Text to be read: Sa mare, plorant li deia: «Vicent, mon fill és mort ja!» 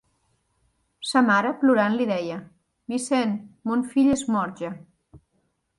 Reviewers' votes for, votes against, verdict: 2, 0, accepted